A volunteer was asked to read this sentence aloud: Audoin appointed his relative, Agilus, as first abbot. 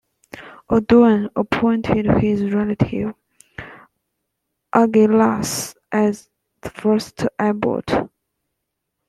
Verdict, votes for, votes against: rejected, 0, 2